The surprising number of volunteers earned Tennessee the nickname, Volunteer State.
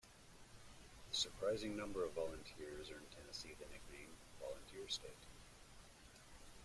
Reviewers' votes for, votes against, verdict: 2, 0, accepted